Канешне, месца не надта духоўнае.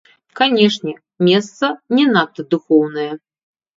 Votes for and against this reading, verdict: 1, 2, rejected